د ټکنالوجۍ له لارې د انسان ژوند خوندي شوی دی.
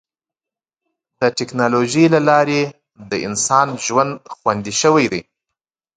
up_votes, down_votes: 1, 2